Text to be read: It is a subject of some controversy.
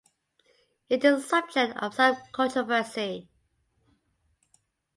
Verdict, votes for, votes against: accepted, 3, 0